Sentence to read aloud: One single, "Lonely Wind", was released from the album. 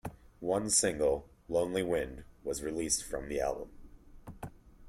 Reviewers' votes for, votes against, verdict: 2, 0, accepted